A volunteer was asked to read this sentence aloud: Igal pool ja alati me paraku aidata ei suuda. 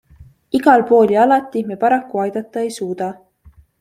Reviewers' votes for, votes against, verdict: 2, 0, accepted